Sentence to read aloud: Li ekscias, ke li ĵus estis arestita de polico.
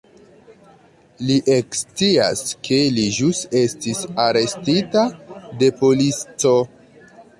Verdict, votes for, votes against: rejected, 0, 2